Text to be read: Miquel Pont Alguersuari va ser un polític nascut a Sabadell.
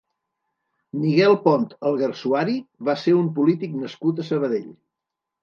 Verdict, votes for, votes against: rejected, 1, 2